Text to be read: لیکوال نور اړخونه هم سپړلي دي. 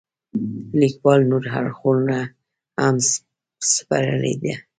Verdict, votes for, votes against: rejected, 1, 2